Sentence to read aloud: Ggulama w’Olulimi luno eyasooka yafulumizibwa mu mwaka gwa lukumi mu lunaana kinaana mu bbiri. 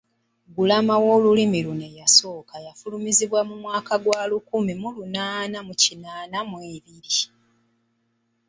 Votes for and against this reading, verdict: 0, 2, rejected